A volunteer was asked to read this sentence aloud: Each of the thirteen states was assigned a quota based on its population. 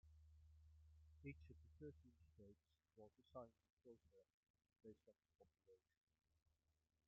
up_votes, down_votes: 0, 2